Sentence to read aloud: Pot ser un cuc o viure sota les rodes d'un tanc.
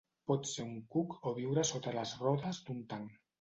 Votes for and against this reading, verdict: 2, 0, accepted